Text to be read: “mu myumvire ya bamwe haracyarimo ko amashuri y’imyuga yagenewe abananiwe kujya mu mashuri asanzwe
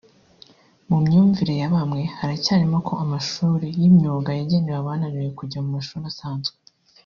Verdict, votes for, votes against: accepted, 2, 1